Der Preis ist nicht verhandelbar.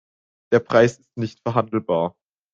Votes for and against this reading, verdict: 2, 0, accepted